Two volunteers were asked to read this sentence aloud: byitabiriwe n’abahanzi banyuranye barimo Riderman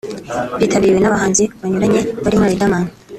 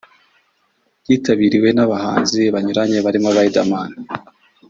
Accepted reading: first